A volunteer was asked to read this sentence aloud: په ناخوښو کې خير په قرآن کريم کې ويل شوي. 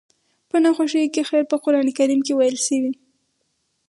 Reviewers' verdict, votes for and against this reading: rejected, 2, 4